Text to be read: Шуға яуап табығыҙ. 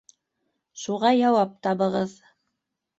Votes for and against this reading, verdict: 2, 0, accepted